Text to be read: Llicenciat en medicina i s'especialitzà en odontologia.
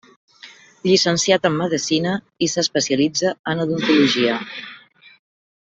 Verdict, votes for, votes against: rejected, 1, 2